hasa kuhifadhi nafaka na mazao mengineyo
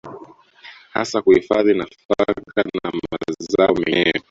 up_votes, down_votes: 0, 2